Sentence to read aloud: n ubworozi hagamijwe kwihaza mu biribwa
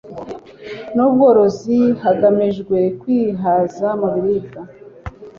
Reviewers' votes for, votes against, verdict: 2, 0, accepted